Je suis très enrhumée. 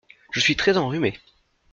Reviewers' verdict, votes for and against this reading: accepted, 2, 0